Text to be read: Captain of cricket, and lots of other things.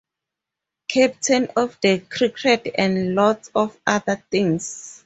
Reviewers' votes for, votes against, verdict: 0, 4, rejected